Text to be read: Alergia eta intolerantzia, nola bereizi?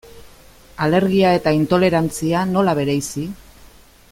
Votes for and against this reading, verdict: 2, 0, accepted